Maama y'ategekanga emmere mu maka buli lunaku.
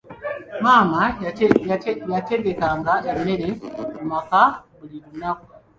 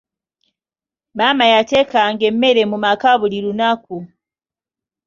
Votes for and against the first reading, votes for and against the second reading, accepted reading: 2, 1, 1, 2, first